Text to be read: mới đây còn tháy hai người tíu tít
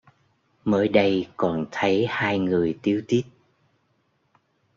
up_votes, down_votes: 1, 2